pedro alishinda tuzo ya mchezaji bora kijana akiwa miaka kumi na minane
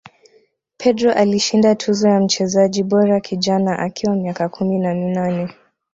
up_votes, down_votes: 2, 0